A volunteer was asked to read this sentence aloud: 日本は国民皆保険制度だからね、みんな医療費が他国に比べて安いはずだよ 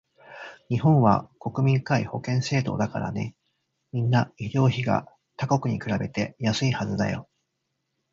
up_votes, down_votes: 1, 2